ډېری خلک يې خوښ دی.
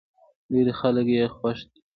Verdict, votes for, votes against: rejected, 1, 2